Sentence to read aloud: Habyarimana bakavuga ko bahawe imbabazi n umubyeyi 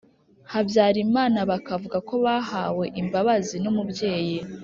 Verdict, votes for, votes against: accepted, 4, 0